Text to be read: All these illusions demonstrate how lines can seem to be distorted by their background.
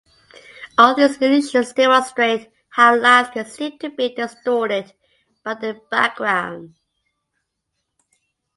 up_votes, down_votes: 2, 1